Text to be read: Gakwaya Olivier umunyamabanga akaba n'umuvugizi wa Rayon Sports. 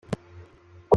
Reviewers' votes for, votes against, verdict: 0, 2, rejected